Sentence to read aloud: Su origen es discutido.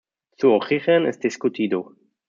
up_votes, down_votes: 2, 1